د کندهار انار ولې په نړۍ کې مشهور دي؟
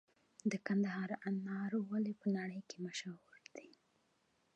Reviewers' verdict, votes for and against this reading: accepted, 2, 0